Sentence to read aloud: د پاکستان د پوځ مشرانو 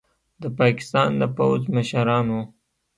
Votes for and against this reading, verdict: 1, 2, rejected